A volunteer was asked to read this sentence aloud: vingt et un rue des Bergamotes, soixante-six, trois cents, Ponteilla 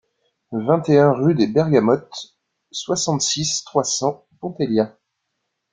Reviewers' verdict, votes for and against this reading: accepted, 2, 0